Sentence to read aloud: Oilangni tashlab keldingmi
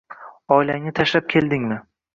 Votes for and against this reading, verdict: 2, 0, accepted